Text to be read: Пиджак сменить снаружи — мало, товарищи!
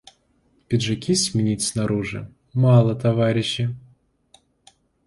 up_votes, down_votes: 0, 2